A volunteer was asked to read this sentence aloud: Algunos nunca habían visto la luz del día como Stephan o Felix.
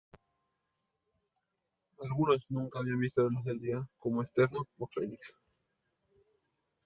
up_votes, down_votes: 1, 2